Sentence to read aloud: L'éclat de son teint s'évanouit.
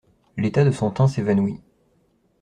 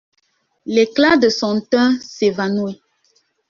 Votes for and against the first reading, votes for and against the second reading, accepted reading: 0, 2, 2, 1, second